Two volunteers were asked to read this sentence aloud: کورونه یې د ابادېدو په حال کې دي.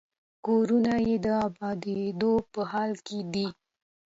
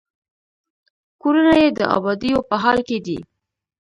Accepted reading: first